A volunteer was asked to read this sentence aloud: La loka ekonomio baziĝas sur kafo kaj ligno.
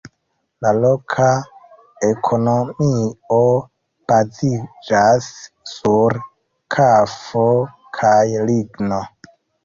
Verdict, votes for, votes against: rejected, 0, 2